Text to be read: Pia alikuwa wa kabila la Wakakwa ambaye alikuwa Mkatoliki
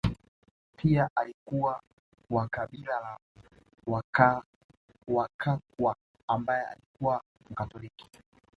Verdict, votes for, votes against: rejected, 0, 2